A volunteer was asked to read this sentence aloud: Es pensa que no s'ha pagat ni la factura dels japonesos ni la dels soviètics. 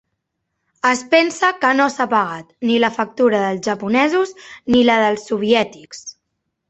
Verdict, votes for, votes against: accepted, 6, 0